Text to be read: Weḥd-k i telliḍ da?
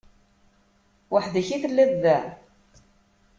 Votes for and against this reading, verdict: 2, 0, accepted